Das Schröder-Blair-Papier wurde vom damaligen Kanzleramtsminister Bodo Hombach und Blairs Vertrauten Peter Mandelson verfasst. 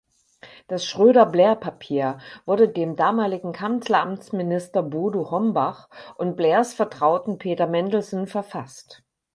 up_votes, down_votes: 0, 4